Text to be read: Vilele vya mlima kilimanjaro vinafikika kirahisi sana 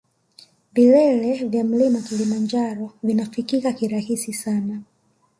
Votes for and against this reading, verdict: 0, 2, rejected